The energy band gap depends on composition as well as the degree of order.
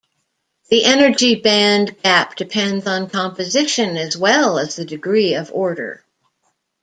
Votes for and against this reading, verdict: 2, 0, accepted